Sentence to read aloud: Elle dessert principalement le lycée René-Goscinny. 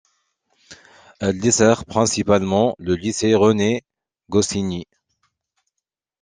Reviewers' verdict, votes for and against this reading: accepted, 2, 1